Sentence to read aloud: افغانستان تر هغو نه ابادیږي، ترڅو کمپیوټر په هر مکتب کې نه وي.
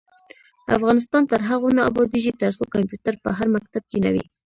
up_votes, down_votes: 1, 2